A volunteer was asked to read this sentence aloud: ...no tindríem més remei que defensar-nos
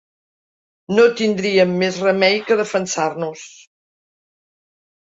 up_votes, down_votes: 3, 0